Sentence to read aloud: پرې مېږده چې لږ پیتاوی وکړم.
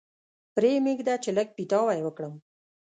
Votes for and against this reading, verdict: 2, 0, accepted